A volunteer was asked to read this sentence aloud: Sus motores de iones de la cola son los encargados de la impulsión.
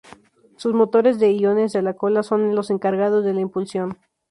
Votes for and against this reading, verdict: 2, 0, accepted